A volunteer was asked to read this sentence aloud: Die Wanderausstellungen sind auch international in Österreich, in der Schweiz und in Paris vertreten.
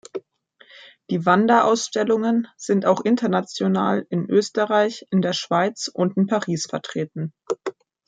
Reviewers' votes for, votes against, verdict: 2, 0, accepted